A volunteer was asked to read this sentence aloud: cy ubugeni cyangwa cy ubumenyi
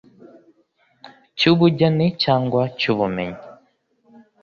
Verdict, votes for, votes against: accepted, 2, 0